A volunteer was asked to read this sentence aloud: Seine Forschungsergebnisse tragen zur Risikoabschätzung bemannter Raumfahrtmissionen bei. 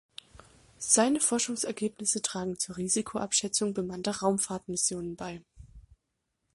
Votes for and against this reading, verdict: 2, 0, accepted